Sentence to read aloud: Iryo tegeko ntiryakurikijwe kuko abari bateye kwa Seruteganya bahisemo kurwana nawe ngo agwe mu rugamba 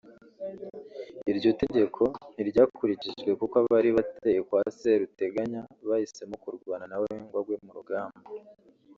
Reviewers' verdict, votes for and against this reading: accepted, 2, 0